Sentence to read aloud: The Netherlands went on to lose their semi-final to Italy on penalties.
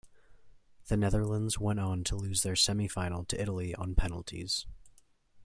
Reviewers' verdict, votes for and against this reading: accepted, 2, 0